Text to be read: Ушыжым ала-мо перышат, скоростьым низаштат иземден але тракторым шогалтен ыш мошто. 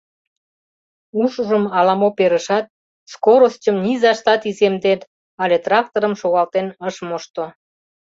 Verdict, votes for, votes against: rejected, 1, 2